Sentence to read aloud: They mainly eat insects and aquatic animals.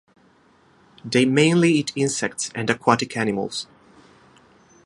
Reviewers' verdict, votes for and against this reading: rejected, 0, 2